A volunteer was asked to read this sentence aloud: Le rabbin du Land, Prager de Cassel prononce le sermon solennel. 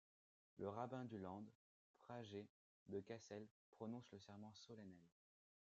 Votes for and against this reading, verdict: 1, 2, rejected